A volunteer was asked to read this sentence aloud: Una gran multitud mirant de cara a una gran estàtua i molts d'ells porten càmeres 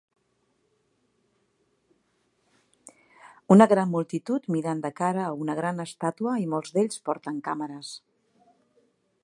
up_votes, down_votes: 3, 0